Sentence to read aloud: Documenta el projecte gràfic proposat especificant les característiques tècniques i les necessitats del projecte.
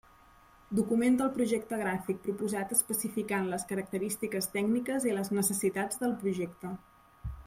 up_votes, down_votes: 2, 0